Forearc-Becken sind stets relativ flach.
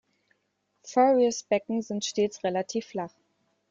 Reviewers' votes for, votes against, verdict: 1, 2, rejected